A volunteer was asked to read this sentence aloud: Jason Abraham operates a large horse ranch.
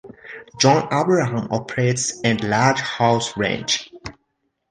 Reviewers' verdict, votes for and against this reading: rejected, 1, 2